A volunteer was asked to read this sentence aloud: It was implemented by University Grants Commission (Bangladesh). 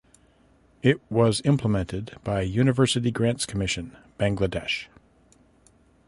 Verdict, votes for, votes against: accepted, 2, 0